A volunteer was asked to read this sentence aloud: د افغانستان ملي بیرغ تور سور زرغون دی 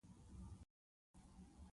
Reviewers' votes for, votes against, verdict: 1, 2, rejected